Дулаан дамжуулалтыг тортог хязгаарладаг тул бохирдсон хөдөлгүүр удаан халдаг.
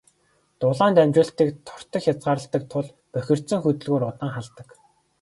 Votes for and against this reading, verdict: 2, 0, accepted